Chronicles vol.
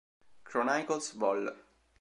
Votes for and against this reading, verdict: 1, 2, rejected